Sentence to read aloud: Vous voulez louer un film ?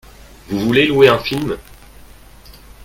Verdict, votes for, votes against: accepted, 2, 0